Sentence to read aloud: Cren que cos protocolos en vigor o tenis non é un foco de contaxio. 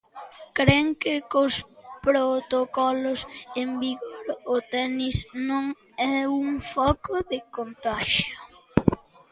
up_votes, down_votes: 2, 0